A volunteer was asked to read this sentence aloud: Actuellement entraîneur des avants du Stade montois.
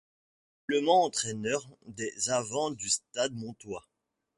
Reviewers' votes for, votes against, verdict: 0, 2, rejected